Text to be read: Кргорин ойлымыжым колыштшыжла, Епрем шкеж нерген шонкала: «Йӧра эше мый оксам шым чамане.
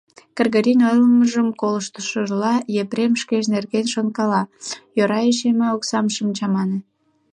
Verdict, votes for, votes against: rejected, 1, 2